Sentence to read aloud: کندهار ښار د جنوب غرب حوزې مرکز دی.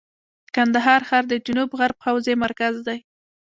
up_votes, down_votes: 2, 0